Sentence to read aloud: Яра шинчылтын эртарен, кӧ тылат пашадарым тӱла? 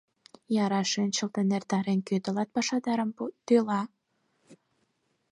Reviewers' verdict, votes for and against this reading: accepted, 4, 0